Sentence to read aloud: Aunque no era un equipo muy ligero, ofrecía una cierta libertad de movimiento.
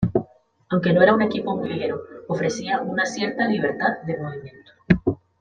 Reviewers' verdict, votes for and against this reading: rejected, 0, 2